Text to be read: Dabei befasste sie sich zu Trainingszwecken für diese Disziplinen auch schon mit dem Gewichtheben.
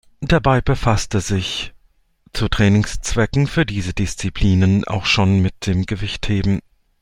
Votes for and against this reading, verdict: 1, 2, rejected